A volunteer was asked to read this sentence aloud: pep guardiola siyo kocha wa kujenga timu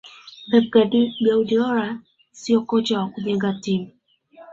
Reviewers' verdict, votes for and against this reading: rejected, 0, 2